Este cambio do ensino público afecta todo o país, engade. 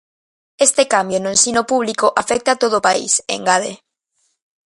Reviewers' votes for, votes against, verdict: 0, 2, rejected